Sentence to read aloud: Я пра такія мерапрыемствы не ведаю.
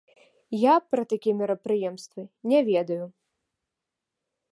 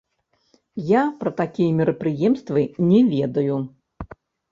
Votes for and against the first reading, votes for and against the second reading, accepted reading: 2, 0, 0, 2, first